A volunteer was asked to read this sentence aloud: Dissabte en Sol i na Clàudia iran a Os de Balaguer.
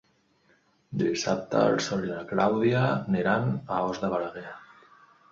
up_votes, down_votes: 0, 2